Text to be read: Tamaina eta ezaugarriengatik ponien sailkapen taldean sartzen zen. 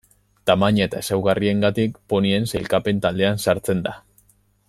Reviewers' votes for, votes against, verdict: 1, 2, rejected